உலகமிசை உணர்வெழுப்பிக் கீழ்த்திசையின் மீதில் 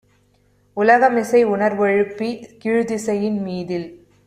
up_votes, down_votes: 2, 0